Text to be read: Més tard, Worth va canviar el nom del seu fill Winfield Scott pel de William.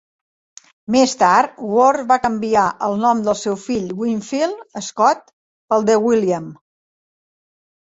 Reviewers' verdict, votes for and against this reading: rejected, 0, 2